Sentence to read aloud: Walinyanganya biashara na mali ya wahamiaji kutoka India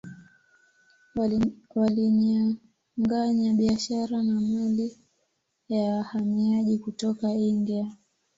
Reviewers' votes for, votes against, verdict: 0, 2, rejected